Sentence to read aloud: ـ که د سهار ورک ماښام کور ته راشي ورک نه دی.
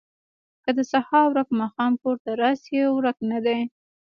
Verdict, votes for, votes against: rejected, 0, 2